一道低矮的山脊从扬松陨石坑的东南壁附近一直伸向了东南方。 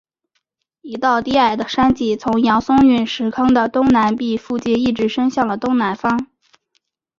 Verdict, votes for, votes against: accepted, 5, 0